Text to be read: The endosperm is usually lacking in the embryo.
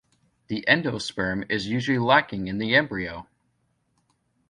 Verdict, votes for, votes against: accepted, 2, 0